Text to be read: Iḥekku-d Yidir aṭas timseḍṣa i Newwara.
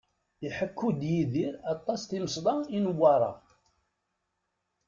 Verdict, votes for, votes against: rejected, 0, 2